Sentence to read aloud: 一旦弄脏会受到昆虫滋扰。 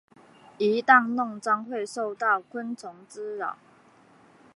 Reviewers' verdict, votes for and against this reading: accepted, 2, 1